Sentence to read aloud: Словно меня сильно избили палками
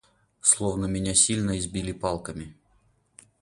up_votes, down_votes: 4, 0